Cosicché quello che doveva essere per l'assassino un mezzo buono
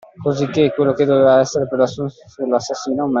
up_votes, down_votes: 0, 2